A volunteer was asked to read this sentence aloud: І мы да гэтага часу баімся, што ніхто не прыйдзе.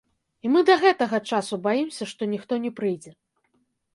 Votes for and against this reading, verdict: 0, 2, rejected